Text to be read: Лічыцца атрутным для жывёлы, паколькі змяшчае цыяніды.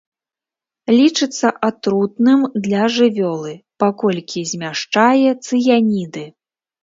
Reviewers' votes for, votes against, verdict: 3, 0, accepted